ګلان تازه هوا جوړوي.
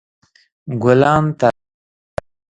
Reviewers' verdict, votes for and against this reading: rejected, 0, 2